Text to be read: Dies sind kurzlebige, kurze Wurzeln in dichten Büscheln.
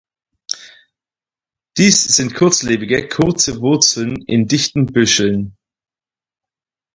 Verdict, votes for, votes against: accepted, 4, 0